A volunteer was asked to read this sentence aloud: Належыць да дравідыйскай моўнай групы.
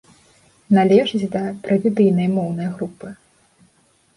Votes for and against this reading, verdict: 0, 2, rejected